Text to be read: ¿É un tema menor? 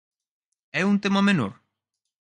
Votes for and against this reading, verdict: 4, 0, accepted